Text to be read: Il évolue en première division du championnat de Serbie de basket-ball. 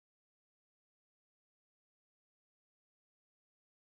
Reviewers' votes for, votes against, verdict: 0, 2, rejected